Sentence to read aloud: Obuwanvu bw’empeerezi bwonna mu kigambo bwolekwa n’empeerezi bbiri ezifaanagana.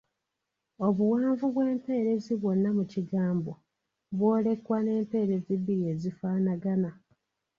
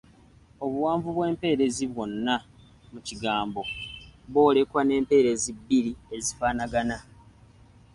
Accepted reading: second